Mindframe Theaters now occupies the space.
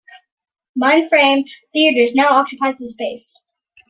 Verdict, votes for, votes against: accepted, 2, 0